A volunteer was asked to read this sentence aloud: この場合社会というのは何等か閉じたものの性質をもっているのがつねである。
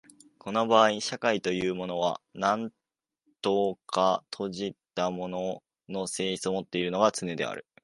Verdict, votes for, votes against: accepted, 3, 2